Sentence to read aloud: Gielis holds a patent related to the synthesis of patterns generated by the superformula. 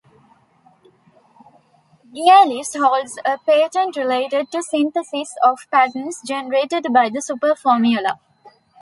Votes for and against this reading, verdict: 2, 0, accepted